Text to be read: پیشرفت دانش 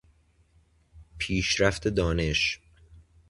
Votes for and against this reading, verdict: 2, 0, accepted